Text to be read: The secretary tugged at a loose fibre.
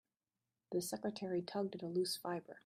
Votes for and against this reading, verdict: 2, 0, accepted